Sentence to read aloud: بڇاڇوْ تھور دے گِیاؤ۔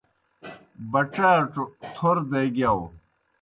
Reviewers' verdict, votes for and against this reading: accepted, 2, 0